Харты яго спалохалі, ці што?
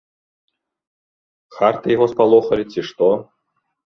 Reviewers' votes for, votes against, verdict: 2, 0, accepted